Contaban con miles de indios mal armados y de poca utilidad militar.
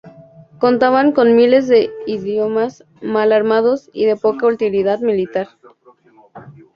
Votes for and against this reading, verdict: 2, 0, accepted